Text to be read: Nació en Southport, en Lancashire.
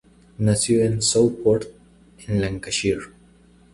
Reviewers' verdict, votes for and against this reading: accepted, 2, 0